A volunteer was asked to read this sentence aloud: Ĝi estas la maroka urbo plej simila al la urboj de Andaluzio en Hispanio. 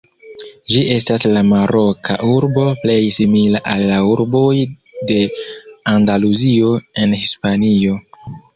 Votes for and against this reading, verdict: 0, 2, rejected